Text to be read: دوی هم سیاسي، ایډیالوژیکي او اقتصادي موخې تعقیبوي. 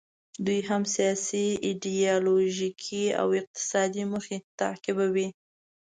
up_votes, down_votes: 2, 0